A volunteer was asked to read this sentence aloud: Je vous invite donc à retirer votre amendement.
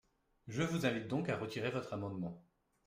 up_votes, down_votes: 2, 0